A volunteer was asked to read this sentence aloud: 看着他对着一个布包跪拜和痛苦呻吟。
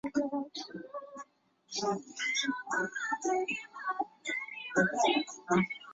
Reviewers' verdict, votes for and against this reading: rejected, 0, 3